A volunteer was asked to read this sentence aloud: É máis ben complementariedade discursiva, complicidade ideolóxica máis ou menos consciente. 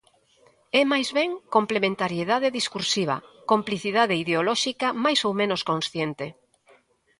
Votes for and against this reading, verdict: 2, 0, accepted